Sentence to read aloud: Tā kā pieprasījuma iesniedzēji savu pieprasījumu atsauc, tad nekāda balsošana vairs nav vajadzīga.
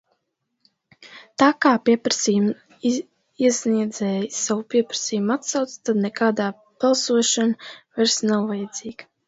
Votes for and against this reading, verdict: 1, 2, rejected